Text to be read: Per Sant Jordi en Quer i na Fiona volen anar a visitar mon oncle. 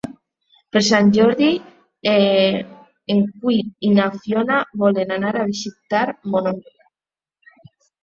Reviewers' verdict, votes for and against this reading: rejected, 0, 2